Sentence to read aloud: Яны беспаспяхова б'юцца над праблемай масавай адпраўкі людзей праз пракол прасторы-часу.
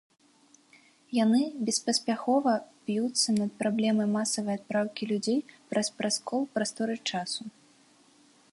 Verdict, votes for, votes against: rejected, 0, 2